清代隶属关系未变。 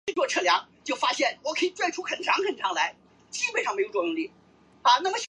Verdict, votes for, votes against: rejected, 0, 2